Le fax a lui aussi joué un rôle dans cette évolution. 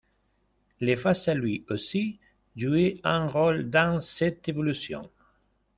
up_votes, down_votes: 0, 2